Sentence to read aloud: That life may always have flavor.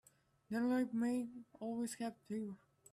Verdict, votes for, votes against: rejected, 1, 2